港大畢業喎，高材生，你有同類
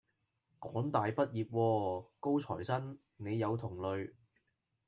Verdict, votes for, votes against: rejected, 1, 2